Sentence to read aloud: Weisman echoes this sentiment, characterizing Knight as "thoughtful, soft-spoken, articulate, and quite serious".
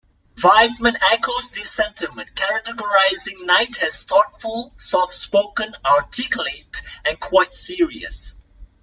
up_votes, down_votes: 2, 1